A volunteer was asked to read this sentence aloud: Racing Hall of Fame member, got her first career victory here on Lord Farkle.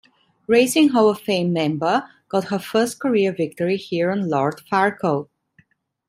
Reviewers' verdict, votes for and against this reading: accepted, 2, 0